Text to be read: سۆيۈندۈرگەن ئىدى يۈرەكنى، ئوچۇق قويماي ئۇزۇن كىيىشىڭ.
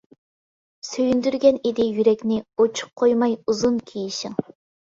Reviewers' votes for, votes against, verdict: 2, 0, accepted